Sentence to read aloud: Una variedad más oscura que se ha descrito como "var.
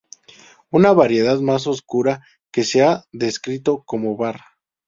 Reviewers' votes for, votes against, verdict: 0, 2, rejected